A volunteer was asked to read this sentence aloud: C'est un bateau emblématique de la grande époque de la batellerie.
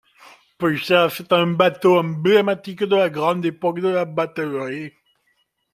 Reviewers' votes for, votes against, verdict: 0, 2, rejected